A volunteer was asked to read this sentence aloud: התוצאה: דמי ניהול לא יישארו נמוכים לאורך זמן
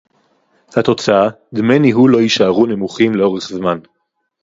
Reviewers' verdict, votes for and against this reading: rejected, 2, 2